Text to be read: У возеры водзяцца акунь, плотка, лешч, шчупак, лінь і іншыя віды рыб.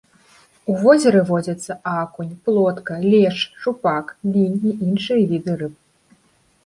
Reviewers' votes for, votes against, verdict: 1, 2, rejected